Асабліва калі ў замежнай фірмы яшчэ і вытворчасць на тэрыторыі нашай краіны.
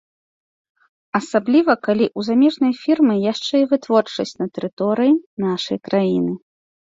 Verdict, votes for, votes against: accepted, 2, 0